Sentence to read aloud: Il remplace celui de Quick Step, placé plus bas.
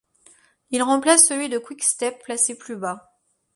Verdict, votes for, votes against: accepted, 2, 0